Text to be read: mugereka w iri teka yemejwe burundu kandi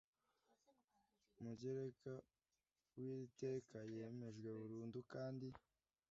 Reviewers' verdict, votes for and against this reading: rejected, 1, 2